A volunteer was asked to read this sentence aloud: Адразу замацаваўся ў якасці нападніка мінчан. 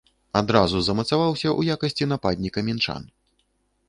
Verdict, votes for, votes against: accepted, 2, 0